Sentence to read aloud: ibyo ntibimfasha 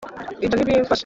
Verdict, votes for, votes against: rejected, 0, 2